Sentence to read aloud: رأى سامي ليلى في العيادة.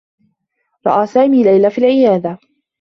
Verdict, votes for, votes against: accepted, 2, 0